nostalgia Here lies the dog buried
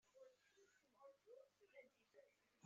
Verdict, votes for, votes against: rejected, 0, 2